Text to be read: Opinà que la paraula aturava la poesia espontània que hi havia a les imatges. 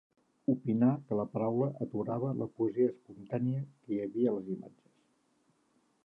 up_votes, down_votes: 2, 0